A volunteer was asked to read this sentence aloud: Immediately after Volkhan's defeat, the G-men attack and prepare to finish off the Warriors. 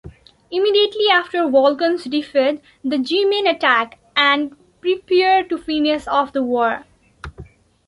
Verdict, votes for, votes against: rejected, 0, 2